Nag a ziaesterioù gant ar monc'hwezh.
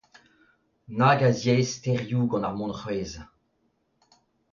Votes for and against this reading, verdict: 2, 0, accepted